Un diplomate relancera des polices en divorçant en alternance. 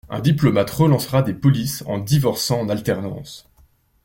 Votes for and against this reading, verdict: 2, 1, accepted